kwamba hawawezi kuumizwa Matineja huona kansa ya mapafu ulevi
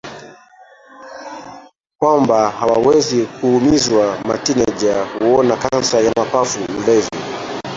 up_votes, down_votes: 0, 2